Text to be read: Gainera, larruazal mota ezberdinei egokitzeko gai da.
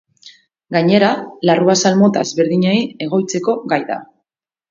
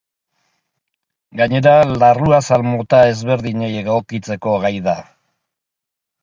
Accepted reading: second